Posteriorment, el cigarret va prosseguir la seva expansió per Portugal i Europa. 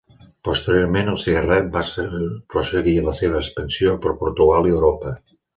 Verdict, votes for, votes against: rejected, 1, 2